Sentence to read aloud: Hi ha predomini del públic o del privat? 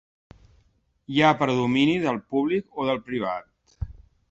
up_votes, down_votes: 3, 0